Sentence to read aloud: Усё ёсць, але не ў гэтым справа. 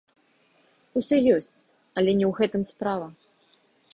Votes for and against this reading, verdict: 2, 0, accepted